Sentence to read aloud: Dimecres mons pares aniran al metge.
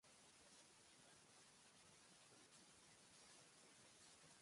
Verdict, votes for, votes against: rejected, 2, 3